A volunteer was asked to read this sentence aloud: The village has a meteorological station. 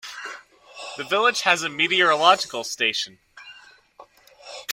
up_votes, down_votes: 1, 2